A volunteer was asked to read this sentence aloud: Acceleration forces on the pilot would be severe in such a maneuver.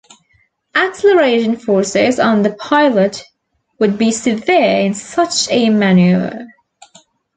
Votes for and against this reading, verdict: 2, 1, accepted